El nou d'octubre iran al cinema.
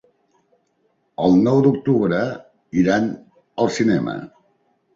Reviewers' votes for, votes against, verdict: 4, 0, accepted